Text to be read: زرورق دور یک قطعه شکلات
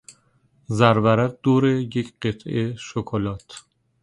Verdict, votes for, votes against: accepted, 2, 0